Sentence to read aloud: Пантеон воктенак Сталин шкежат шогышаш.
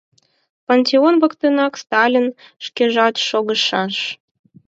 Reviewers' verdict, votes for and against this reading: accepted, 4, 2